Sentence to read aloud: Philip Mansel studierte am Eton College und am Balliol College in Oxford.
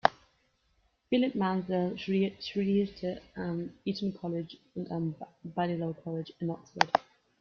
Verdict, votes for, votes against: rejected, 0, 2